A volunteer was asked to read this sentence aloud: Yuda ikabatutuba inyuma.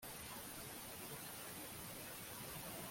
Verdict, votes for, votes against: rejected, 0, 2